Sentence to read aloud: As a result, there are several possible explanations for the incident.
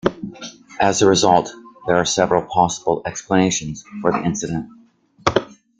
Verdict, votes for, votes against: accepted, 2, 0